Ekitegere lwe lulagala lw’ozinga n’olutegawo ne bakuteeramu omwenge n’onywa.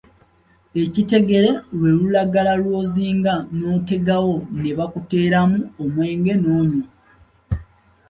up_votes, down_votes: 2, 0